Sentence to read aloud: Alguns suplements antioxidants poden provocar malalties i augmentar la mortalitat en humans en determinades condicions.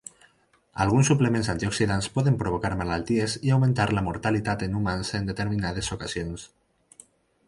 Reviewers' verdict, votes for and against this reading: accepted, 4, 0